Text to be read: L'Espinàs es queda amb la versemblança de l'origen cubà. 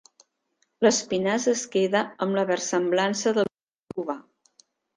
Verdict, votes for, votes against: rejected, 0, 2